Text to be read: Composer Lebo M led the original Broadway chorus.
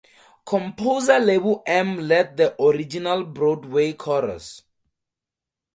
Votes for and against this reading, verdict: 2, 0, accepted